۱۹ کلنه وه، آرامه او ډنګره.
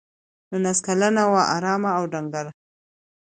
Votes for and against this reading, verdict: 0, 2, rejected